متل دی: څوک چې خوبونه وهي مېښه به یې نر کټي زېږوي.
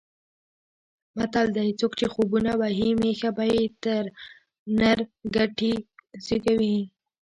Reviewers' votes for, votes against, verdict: 2, 1, accepted